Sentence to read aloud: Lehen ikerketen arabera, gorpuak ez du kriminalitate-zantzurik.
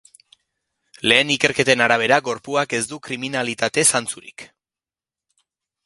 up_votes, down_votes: 2, 0